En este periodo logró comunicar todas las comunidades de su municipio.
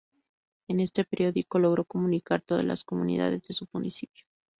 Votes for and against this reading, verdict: 0, 2, rejected